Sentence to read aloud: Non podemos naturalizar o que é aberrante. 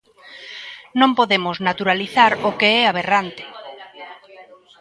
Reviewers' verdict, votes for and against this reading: rejected, 1, 2